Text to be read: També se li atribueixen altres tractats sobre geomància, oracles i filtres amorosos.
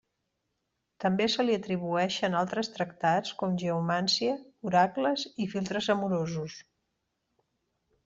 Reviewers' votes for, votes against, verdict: 1, 2, rejected